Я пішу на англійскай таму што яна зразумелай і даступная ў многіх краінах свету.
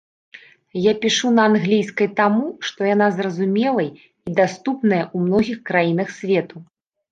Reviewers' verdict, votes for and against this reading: rejected, 1, 2